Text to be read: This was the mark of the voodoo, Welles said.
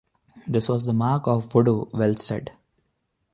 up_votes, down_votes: 2, 0